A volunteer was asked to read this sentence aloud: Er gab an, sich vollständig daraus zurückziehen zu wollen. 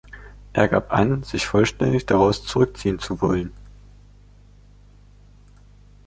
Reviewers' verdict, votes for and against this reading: accepted, 2, 0